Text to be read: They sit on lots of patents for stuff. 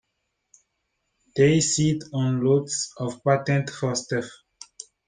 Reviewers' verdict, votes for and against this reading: rejected, 0, 2